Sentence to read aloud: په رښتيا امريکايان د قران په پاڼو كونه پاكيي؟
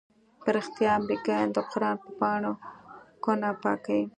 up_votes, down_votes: 1, 2